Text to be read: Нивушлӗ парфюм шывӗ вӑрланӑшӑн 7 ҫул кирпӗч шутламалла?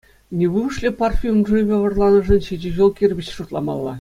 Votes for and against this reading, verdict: 0, 2, rejected